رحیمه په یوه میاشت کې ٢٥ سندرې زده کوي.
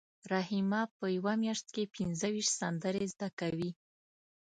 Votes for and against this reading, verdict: 0, 2, rejected